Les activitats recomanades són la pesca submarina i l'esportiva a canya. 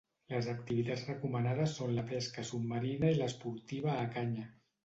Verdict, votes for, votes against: accepted, 2, 0